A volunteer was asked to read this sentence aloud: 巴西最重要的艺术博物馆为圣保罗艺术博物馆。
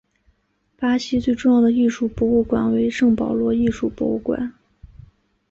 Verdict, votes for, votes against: accepted, 2, 1